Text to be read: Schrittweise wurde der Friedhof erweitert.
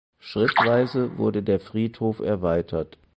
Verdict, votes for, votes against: accepted, 4, 0